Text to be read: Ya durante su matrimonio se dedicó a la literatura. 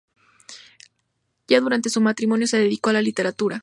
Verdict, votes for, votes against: accepted, 2, 0